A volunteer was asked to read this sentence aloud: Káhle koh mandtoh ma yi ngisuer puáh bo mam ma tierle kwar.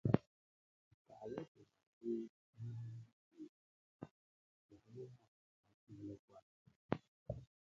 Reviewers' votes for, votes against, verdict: 0, 3, rejected